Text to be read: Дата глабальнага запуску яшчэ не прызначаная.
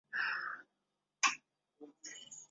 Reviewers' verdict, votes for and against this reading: rejected, 0, 2